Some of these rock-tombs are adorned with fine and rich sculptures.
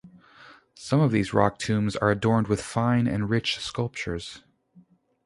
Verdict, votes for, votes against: rejected, 0, 2